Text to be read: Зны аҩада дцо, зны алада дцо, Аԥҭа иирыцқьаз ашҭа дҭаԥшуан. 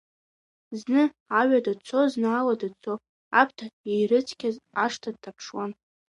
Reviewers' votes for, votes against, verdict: 2, 1, accepted